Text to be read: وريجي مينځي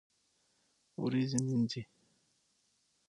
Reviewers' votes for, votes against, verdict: 6, 0, accepted